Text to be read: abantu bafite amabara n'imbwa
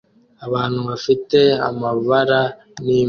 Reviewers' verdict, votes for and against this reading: accepted, 2, 0